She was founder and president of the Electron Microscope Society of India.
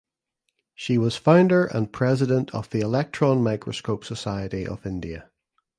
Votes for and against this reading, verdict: 2, 0, accepted